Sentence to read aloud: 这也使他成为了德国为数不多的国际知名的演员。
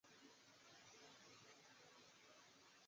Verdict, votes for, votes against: rejected, 0, 2